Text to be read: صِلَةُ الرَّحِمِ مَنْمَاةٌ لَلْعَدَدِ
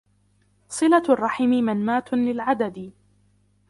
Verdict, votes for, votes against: rejected, 0, 2